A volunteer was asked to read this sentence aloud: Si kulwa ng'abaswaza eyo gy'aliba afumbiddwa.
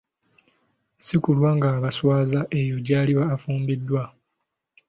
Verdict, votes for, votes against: accepted, 2, 0